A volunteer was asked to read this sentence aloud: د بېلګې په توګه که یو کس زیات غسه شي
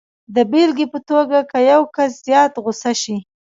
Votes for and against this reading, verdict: 1, 2, rejected